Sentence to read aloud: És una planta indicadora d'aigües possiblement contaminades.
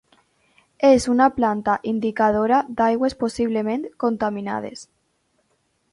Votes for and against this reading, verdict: 2, 0, accepted